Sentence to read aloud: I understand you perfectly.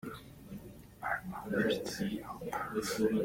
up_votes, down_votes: 0, 2